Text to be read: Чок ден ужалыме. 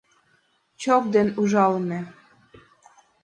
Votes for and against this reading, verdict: 2, 0, accepted